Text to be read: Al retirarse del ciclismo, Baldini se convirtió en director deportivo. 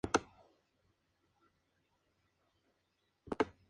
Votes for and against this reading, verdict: 0, 2, rejected